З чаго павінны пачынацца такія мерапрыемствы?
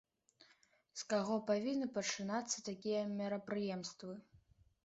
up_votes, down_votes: 1, 2